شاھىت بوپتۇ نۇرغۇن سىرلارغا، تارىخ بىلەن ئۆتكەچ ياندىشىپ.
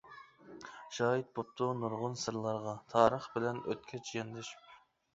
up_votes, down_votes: 2, 0